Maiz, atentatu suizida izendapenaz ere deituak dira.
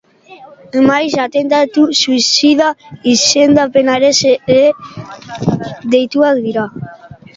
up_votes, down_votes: 0, 2